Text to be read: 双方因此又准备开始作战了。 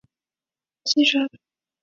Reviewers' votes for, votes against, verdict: 1, 2, rejected